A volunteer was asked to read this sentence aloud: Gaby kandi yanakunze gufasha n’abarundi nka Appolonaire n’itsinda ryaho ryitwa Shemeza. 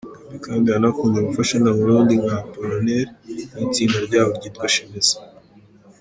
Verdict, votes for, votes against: accepted, 3, 0